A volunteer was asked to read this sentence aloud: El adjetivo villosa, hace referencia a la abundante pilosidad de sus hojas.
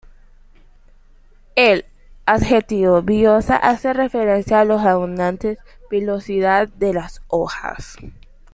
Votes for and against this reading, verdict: 1, 2, rejected